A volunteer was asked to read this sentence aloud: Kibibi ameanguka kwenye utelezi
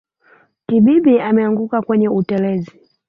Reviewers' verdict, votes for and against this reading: accepted, 3, 0